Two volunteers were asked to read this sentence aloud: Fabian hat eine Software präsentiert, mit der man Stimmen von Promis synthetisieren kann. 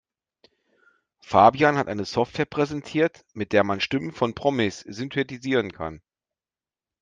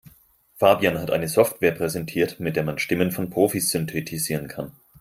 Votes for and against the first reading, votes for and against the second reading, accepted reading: 2, 0, 0, 4, first